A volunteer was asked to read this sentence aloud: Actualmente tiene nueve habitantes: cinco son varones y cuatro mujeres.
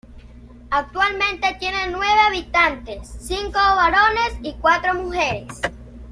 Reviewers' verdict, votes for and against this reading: rejected, 1, 2